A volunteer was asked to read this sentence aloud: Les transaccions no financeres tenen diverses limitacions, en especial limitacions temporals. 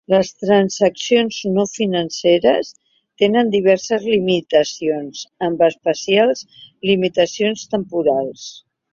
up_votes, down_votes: 1, 2